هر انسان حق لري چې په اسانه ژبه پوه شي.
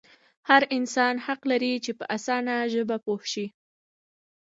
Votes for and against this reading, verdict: 1, 2, rejected